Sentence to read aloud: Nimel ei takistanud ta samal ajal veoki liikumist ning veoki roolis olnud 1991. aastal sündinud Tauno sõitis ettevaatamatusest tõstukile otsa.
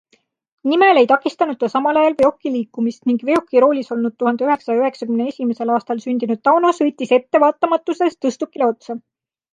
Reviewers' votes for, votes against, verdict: 0, 2, rejected